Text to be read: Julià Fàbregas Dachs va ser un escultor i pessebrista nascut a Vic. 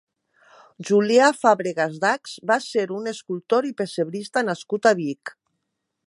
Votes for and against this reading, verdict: 0, 2, rejected